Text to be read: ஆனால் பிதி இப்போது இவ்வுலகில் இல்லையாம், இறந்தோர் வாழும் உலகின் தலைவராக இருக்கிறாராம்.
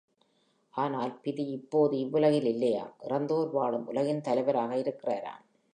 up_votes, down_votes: 2, 0